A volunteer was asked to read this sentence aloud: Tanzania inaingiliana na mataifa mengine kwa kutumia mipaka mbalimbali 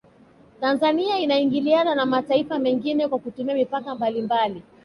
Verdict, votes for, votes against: rejected, 1, 2